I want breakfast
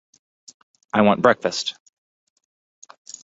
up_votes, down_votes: 2, 0